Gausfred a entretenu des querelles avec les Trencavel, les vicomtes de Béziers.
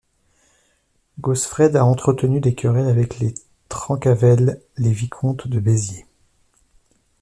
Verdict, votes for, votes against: accepted, 2, 0